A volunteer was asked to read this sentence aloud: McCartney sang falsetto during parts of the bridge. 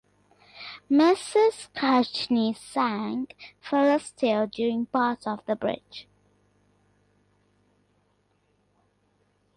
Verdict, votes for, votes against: rejected, 0, 2